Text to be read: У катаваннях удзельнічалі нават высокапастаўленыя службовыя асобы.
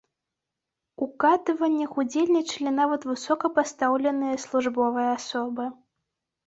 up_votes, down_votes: 0, 2